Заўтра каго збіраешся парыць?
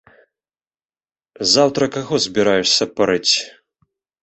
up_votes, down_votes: 1, 2